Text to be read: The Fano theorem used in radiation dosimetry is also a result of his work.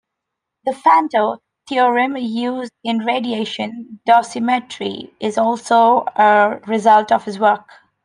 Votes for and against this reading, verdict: 0, 2, rejected